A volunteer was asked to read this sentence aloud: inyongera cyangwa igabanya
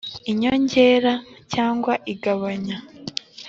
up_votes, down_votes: 3, 0